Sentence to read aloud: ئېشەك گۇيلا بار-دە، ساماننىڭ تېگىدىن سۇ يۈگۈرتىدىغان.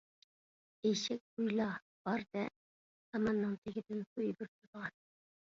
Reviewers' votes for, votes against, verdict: 1, 2, rejected